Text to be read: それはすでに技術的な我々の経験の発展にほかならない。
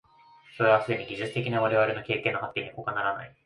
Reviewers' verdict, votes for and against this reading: accepted, 2, 1